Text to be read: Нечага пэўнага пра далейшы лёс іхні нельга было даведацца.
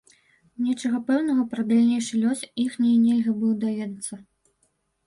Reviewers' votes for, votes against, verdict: 0, 2, rejected